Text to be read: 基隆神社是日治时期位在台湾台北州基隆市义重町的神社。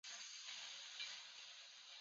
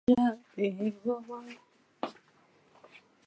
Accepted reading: second